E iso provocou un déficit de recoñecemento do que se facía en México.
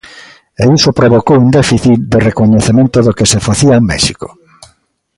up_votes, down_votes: 2, 0